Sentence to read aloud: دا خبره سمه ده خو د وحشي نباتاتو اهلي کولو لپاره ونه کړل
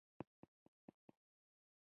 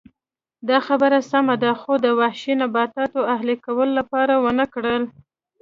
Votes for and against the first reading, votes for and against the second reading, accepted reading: 1, 2, 2, 0, second